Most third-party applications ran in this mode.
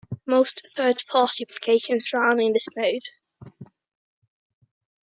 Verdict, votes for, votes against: rejected, 1, 2